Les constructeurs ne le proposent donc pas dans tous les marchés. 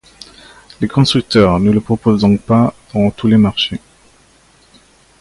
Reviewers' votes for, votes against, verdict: 1, 2, rejected